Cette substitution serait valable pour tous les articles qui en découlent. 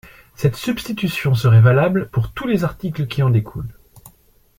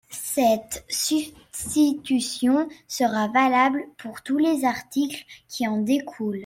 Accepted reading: first